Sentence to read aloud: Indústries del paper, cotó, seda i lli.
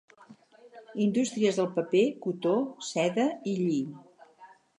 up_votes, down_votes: 2, 4